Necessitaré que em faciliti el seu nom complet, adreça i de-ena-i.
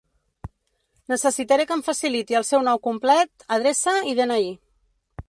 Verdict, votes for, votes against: rejected, 1, 2